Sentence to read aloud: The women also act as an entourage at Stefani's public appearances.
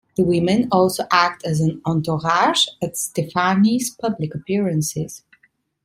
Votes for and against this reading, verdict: 2, 0, accepted